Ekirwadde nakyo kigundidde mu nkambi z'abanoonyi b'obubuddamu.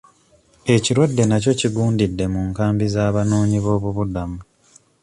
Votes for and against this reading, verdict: 2, 0, accepted